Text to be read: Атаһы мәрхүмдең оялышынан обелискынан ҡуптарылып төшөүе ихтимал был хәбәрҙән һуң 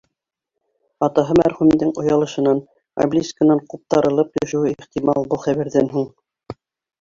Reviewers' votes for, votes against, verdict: 2, 1, accepted